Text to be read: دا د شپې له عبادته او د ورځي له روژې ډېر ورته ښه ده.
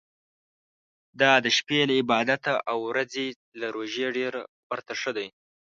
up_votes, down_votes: 2, 0